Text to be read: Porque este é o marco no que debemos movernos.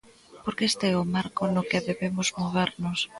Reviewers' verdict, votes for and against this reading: rejected, 1, 2